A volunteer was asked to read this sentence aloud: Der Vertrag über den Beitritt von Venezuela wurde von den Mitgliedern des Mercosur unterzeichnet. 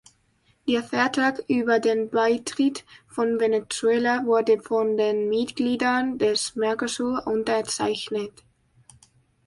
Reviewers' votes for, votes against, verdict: 2, 0, accepted